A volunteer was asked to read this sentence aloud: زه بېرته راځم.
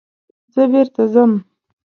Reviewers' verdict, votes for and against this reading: rejected, 1, 2